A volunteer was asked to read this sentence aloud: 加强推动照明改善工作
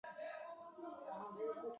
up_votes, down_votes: 1, 4